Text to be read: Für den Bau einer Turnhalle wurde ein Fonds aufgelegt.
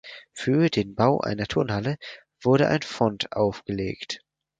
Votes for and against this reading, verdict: 0, 4, rejected